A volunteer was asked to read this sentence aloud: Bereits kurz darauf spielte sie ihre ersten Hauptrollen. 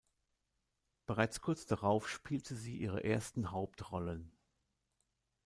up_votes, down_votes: 2, 0